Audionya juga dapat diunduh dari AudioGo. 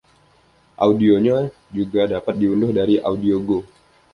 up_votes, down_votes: 2, 0